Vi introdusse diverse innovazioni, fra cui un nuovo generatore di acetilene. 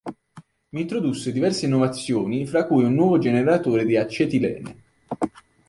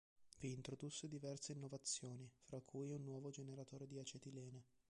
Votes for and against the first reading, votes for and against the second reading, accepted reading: 2, 1, 0, 2, first